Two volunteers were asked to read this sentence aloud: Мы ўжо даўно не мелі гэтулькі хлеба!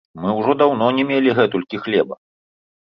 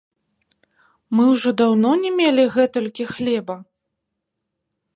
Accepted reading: first